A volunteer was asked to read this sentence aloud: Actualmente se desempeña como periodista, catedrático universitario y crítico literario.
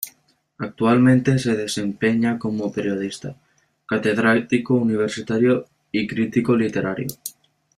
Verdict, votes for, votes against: accepted, 2, 0